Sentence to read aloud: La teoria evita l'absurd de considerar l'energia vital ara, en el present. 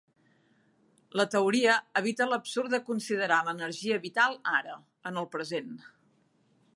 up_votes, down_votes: 5, 0